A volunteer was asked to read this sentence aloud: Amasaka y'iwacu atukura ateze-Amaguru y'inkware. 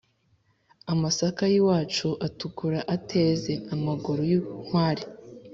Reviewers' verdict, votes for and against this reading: accepted, 4, 0